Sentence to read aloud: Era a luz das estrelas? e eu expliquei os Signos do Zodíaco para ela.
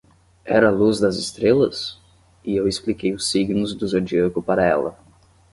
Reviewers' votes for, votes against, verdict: 10, 0, accepted